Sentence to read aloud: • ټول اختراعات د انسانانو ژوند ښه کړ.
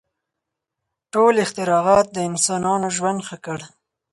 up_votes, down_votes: 4, 0